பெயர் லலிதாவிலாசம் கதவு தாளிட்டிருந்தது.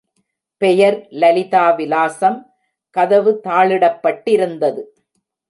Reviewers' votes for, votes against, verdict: 0, 2, rejected